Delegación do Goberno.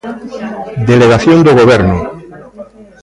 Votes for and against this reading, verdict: 1, 2, rejected